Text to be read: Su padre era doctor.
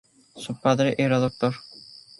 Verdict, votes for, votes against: accepted, 2, 0